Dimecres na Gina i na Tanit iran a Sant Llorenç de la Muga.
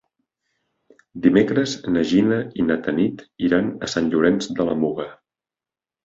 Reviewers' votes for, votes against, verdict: 3, 0, accepted